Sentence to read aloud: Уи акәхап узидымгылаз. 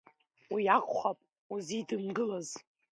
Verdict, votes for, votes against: accepted, 2, 0